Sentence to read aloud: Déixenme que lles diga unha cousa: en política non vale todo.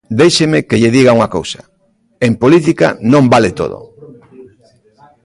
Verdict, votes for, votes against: rejected, 0, 2